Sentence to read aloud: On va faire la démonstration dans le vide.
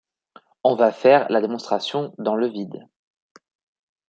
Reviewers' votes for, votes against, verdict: 2, 0, accepted